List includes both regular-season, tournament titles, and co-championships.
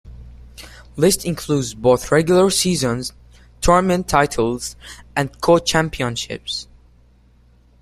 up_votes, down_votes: 2, 1